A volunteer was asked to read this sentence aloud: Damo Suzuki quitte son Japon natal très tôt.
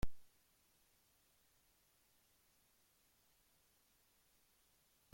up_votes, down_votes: 0, 2